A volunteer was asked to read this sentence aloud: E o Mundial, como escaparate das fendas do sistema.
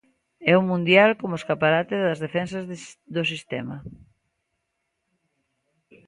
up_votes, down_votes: 0, 2